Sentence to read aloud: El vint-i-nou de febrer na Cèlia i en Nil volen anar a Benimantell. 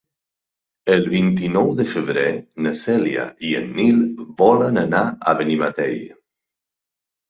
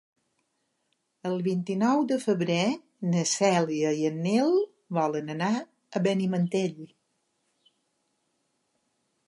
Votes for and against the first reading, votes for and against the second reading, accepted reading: 2, 4, 3, 0, second